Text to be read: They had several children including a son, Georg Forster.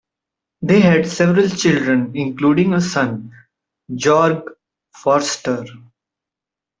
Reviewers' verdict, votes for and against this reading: rejected, 1, 2